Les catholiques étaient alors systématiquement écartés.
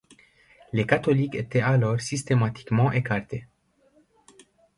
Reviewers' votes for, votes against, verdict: 2, 0, accepted